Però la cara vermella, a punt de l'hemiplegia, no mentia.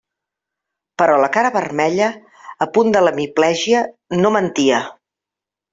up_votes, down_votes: 2, 0